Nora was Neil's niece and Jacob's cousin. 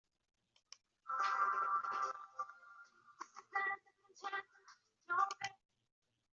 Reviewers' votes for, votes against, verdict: 1, 2, rejected